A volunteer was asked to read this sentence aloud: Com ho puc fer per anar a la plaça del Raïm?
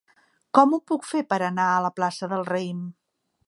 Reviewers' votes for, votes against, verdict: 2, 0, accepted